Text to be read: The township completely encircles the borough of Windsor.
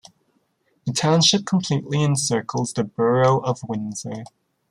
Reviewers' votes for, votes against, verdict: 2, 1, accepted